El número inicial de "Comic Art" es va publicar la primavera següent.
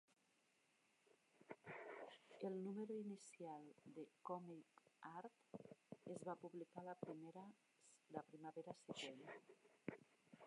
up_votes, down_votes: 0, 2